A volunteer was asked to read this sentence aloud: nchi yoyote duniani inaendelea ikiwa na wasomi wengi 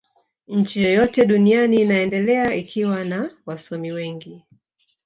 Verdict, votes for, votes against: rejected, 0, 2